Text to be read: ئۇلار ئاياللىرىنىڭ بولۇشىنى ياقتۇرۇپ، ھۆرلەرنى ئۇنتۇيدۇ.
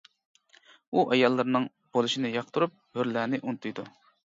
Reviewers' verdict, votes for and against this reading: rejected, 1, 2